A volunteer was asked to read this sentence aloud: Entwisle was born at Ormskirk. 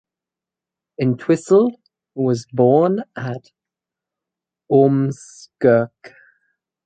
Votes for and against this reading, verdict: 2, 4, rejected